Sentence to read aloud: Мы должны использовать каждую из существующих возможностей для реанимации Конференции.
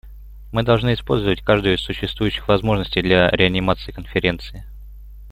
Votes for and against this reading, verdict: 2, 0, accepted